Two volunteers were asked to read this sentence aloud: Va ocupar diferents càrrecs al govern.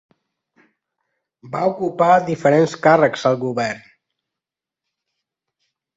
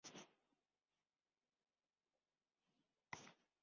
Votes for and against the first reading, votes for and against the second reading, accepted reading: 2, 0, 0, 2, first